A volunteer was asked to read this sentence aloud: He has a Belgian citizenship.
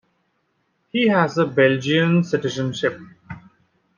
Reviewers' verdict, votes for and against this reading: accepted, 2, 0